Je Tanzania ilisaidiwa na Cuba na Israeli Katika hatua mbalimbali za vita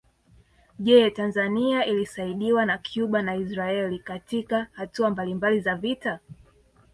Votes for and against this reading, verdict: 2, 0, accepted